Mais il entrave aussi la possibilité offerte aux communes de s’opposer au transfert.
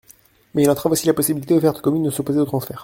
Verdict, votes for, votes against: rejected, 0, 2